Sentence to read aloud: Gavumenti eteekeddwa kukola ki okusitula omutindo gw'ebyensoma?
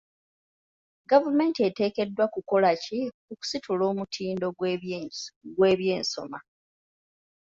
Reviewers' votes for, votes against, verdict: 1, 2, rejected